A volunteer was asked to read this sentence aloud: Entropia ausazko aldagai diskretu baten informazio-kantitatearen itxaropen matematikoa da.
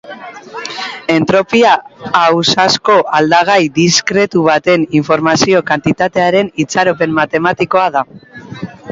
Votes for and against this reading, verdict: 3, 1, accepted